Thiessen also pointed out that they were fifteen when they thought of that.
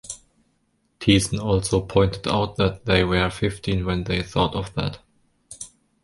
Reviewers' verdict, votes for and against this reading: rejected, 0, 3